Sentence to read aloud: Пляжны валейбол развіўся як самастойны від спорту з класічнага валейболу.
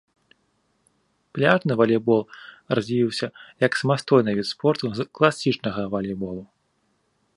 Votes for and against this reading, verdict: 1, 2, rejected